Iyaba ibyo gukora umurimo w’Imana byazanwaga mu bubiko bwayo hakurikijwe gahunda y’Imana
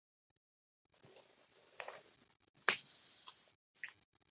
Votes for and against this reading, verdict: 0, 2, rejected